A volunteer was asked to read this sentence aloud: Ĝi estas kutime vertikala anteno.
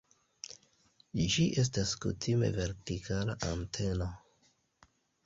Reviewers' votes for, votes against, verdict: 2, 0, accepted